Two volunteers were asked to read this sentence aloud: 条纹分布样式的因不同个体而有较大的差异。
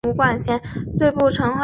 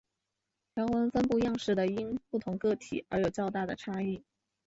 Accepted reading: second